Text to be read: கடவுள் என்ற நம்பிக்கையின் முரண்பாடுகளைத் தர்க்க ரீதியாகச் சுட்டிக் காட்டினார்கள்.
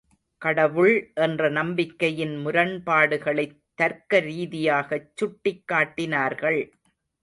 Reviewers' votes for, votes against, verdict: 2, 0, accepted